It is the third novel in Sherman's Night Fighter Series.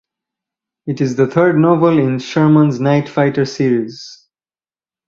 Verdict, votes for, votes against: rejected, 0, 2